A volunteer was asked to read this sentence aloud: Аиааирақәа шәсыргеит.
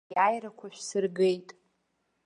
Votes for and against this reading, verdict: 0, 2, rejected